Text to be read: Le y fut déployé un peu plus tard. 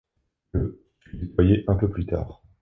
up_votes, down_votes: 1, 2